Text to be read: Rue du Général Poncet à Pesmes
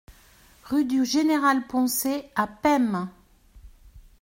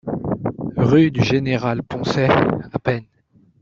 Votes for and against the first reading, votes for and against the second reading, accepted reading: 2, 0, 0, 2, first